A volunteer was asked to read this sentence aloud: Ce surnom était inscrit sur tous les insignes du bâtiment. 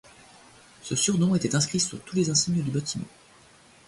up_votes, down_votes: 2, 0